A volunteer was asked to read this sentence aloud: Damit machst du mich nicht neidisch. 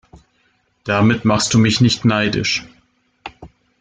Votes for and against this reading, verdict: 2, 1, accepted